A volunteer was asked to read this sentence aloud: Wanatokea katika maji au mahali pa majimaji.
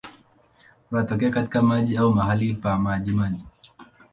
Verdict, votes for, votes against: accepted, 2, 0